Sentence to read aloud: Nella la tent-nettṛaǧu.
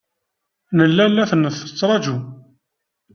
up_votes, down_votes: 0, 2